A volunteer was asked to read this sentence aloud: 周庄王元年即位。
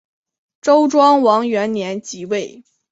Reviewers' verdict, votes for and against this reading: accepted, 2, 0